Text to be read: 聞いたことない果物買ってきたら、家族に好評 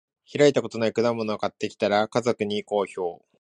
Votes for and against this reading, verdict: 0, 2, rejected